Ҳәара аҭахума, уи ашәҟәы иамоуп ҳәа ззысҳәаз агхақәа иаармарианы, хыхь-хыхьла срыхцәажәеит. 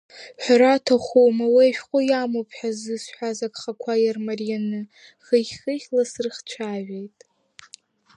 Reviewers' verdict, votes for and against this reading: accepted, 6, 5